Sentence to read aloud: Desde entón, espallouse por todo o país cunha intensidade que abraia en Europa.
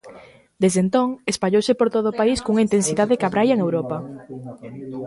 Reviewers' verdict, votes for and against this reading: accepted, 2, 0